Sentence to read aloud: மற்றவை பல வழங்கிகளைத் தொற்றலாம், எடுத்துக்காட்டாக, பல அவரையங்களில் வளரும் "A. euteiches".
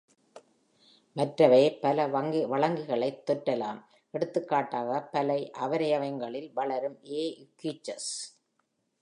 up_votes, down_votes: 1, 2